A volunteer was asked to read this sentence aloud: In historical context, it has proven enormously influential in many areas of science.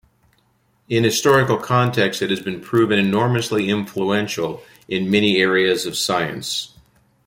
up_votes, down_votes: 2, 0